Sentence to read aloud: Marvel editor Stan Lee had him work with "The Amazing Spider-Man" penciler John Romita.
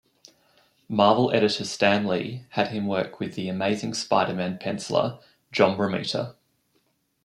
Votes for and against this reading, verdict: 2, 0, accepted